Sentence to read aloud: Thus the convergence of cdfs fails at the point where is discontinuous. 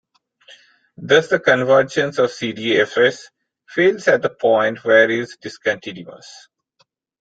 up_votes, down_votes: 0, 2